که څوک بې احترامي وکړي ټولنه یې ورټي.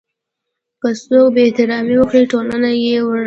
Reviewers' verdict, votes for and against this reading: accepted, 2, 0